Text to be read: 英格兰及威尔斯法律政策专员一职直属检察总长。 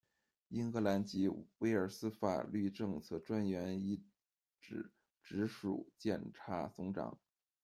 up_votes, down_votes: 0, 2